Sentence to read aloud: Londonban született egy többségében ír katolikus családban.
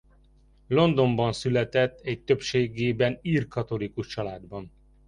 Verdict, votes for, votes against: accepted, 2, 0